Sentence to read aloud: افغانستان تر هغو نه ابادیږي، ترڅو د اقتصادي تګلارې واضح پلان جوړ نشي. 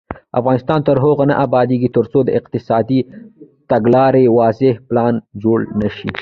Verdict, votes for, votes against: rejected, 1, 2